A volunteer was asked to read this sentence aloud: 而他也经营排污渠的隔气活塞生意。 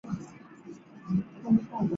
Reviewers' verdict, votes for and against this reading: rejected, 0, 4